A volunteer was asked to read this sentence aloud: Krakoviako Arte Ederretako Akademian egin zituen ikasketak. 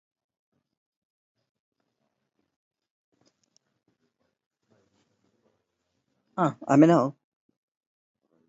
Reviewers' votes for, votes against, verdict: 0, 6, rejected